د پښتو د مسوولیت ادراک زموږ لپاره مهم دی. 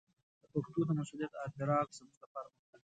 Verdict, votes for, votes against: rejected, 2, 4